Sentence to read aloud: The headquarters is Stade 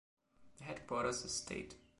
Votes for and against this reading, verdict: 1, 2, rejected